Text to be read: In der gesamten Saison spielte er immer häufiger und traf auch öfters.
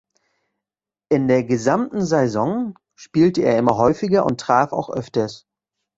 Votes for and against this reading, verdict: 1, 2, rejected